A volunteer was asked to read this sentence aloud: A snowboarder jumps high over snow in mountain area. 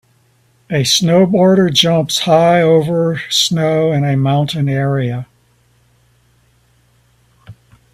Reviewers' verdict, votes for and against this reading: rejected, 3, 5